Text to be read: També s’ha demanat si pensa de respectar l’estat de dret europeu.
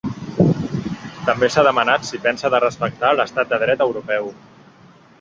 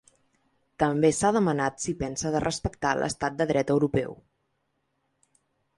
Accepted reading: second